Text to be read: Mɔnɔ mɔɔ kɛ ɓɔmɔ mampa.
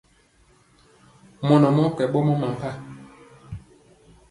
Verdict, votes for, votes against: accepted, 3, 1